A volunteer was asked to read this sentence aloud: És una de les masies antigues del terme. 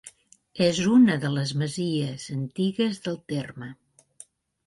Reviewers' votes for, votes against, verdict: 2, 0, accepted